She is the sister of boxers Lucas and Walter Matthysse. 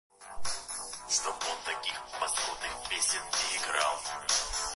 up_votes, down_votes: 0, 2